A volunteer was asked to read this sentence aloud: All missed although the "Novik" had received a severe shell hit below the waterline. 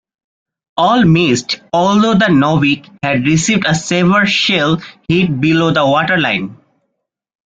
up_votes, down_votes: 2, 0